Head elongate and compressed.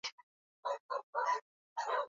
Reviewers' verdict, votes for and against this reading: rejected, 0, 2